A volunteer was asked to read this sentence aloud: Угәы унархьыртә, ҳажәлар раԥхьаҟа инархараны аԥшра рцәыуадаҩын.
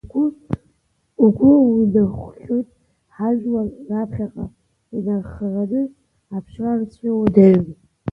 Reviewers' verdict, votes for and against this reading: rejected, 1, 2